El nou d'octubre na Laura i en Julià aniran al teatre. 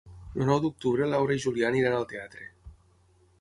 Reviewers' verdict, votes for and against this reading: rejected, 0, 6